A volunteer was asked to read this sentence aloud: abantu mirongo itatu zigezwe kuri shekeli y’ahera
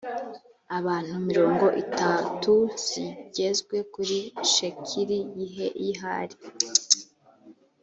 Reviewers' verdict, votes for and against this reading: rejected, 2, 3